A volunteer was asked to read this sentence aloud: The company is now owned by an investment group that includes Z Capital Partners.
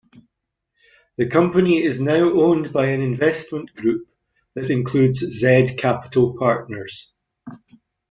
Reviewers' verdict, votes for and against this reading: accepted, 2, 0